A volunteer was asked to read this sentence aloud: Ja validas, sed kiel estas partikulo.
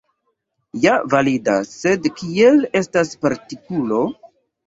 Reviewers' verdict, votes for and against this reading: accepted, 2, 0